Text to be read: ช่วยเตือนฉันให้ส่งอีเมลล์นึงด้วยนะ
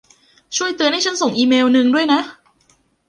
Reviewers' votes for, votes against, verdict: 2, 1, accepted